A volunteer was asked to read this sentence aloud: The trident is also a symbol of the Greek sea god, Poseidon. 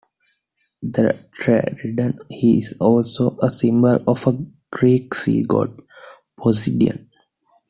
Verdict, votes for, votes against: rejected, 0, 2